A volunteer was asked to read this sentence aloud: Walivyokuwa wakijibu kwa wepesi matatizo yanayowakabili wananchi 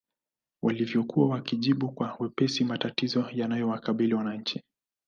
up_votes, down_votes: 2, 0